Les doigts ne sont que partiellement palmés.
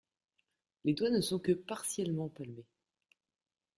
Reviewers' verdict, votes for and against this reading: rejected, 1, 2